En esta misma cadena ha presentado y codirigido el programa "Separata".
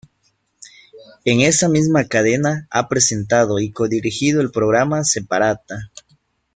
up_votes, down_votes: 2, 3